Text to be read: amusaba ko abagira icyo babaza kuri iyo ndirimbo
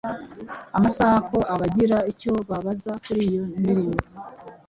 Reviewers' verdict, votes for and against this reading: accepted, 2, 0